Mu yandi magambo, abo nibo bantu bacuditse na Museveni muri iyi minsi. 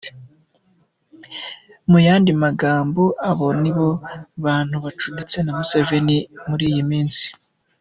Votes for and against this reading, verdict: 2, 0, accepted